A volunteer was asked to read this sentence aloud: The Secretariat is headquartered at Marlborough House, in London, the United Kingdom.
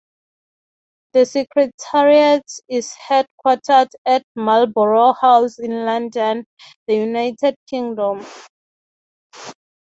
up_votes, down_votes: 6, 0